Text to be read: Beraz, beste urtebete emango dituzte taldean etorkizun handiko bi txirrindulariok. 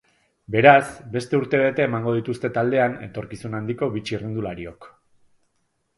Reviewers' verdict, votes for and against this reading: accepted, 2, 0